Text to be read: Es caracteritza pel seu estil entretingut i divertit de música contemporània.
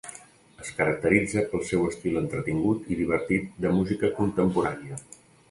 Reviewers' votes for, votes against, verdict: 2, 0, accepted